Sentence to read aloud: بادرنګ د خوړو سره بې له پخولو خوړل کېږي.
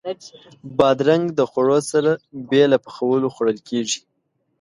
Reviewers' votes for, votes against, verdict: 2, 0, accepted